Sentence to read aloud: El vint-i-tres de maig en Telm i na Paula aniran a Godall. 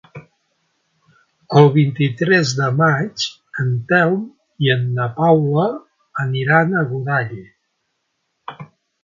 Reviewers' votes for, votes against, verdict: 0, 2, rejected